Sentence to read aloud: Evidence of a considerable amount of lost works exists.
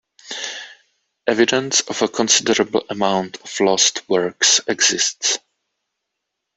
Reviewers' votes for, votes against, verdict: 1, 2, rejected